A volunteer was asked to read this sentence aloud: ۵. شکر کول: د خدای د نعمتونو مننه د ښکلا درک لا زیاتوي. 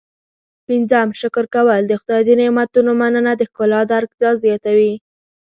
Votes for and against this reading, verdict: 0, 2, rejected